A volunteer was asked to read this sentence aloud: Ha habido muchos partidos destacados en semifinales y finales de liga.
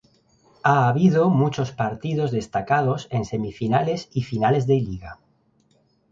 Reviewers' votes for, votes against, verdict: 2, 0, accepted